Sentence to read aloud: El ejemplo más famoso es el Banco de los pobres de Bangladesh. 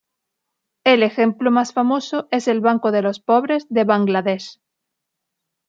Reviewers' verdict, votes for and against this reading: accepted, 2, 0